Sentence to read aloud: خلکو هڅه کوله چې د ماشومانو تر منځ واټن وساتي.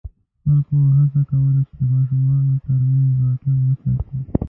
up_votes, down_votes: 0, 3